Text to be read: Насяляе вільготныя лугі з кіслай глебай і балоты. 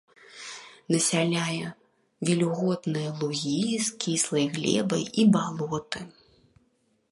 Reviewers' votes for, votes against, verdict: 2, 0, accepted